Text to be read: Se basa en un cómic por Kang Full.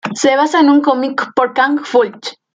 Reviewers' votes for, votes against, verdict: 2, 0, accepted